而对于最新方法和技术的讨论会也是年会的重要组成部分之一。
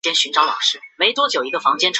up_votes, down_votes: 1, 2